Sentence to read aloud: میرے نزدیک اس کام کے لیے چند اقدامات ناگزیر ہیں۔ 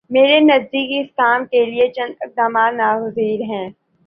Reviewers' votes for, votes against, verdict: 4, 1, accepted